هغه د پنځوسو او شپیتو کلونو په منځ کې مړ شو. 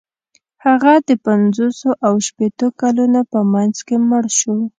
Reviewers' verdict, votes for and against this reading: accepted, 2, 0